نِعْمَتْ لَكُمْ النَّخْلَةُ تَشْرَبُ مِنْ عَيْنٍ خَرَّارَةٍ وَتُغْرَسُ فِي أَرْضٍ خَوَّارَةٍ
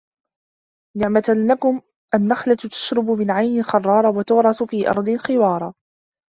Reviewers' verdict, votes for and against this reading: rejected, 0, 2